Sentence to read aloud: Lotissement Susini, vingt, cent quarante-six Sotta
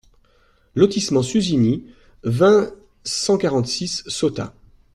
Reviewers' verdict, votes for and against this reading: accepted, 2, 0